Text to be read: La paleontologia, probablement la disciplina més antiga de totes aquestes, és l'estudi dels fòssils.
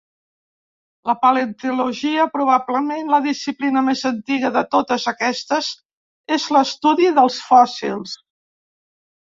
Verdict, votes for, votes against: rejected, 1, 2